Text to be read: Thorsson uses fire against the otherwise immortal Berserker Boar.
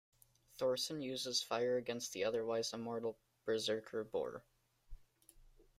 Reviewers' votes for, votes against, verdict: 2, 1, accepted